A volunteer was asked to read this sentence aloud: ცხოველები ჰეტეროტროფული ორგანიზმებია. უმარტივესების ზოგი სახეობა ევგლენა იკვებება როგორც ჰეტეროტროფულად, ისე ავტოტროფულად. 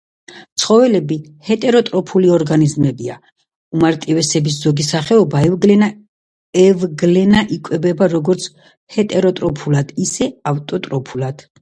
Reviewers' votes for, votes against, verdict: 0, 2, rejected